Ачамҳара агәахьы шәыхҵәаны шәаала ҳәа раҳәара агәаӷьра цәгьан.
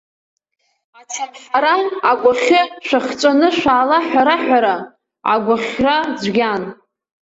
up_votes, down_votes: 1, 2